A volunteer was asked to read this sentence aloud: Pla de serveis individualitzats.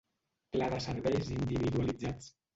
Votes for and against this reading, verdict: 0, 2, rejected